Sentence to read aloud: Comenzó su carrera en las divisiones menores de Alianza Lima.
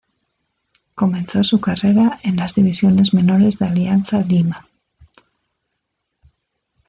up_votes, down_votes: 2, 0